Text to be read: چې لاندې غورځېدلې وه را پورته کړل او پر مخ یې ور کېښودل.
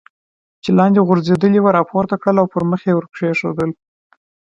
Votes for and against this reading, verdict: 2, 0, accepted